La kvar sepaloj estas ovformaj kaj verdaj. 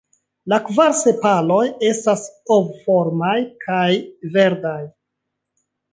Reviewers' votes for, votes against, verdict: 2, 0, accepted